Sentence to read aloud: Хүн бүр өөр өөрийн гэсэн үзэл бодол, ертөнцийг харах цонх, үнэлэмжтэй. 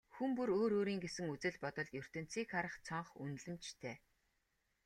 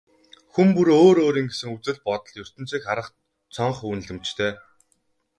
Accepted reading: first